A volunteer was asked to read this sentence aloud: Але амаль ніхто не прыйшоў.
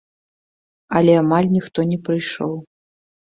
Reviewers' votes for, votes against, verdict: 2, 0, accepted